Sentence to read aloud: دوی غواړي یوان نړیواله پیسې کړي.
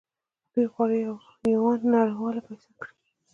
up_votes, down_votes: 1, 2